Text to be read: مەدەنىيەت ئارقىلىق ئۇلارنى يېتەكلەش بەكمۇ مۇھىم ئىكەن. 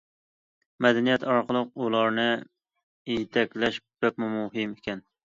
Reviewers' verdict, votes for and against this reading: accepted, 2, 0